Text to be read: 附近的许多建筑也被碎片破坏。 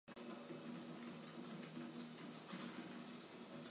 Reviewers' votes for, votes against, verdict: 0, 4, rejected